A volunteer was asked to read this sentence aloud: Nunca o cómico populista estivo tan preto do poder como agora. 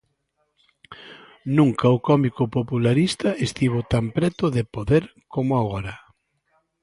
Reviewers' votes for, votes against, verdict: 0, 3, rejected